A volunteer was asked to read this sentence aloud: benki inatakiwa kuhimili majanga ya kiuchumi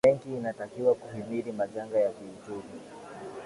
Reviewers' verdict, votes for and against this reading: accepted, 2, 1